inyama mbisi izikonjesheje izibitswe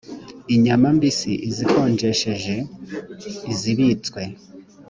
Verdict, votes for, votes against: accepted, 2, 0